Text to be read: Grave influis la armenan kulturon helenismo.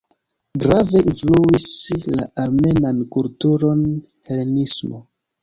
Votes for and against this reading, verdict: 0, 2, rejected